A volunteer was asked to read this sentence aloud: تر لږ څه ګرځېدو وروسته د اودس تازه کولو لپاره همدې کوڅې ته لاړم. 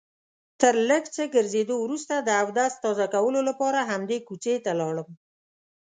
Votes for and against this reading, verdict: 2, 0, accepted